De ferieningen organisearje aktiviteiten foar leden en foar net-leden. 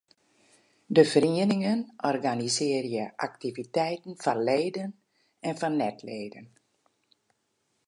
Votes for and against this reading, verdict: 2, 0, accepted